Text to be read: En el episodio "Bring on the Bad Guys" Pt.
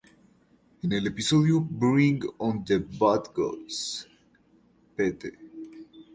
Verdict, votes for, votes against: rejected, 0, 2